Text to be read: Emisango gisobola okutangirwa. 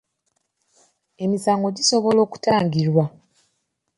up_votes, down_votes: 2, 0